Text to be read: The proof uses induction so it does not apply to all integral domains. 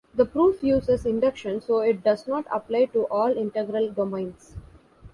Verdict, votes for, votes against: accepted, 2, 0